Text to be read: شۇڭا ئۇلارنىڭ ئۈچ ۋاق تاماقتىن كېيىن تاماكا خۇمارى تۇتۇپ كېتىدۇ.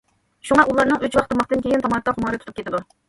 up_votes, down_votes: 2, 0